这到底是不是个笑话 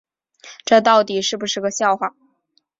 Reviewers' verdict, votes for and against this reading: accepted, 4, 0